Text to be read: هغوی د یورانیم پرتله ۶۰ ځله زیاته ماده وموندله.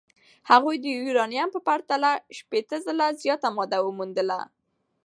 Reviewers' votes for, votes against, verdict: 0, 2, rejected